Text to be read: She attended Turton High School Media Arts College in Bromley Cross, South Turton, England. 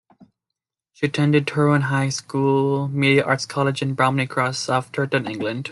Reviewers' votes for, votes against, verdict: 1, 2, rejected